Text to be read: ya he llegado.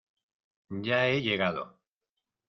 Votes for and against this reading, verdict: 2, 0, accepted